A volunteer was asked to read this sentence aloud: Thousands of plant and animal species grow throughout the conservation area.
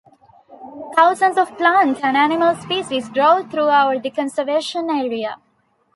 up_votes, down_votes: 1, 2